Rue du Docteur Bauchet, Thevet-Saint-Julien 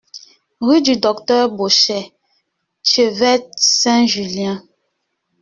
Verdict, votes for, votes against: rejected, 1, 2